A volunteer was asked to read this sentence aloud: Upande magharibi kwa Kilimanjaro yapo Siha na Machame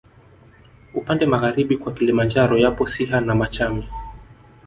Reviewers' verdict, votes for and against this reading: accepted, 2, 0